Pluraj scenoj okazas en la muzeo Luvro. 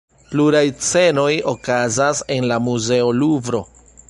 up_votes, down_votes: 2, 1